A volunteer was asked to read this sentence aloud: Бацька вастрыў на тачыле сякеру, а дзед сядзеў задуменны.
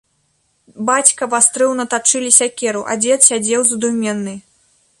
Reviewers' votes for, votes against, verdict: 2, 0, accepted